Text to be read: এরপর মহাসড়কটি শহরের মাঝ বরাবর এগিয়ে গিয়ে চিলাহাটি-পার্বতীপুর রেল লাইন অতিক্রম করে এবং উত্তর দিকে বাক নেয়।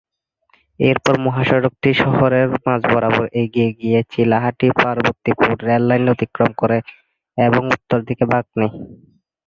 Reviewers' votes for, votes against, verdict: 0, 2, rejected